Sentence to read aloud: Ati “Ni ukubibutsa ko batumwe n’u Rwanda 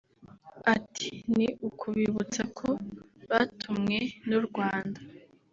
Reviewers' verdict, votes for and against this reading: accepted, 2, 0